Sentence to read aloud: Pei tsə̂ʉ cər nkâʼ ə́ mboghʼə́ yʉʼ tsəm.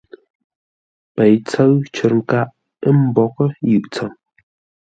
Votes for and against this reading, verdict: 2, 0, accepted